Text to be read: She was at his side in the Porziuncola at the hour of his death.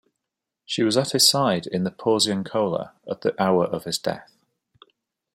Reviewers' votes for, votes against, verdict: 2, 0, accepted